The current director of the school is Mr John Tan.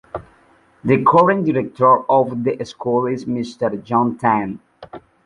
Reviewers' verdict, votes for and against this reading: rejected, 0, 3